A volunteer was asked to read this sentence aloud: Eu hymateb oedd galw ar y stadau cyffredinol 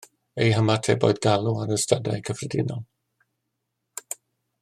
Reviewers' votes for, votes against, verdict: 2, 0, accepted